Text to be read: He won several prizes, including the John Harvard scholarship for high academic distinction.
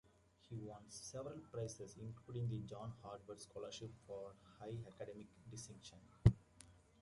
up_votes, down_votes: 2, 0